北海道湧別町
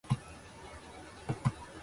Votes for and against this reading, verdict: 0, 2, rejected